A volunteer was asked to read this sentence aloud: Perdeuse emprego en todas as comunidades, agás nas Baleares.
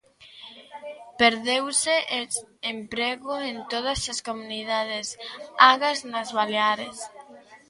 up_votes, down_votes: 0, 2